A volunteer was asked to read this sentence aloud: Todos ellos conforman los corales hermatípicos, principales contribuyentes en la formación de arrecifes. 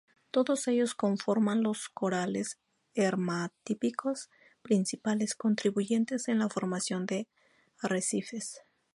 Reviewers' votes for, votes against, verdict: 2, 0, accepted